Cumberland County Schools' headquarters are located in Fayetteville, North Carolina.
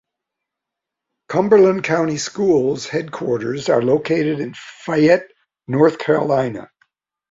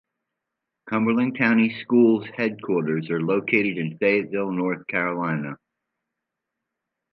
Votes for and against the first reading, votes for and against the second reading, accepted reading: 0, 2, 2, 0, second